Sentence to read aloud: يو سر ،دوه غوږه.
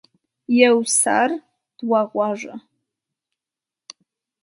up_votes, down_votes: 2, 0